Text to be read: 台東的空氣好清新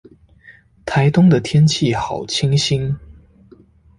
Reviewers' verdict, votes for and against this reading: rejected, 1, 2